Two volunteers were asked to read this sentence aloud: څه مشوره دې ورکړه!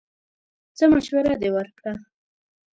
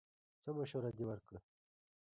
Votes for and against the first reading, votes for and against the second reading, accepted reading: 1, 2, 2, 1, second